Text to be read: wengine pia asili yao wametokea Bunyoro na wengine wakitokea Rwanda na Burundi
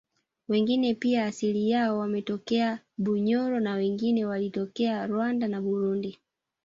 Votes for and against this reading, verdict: 2, 0, accepted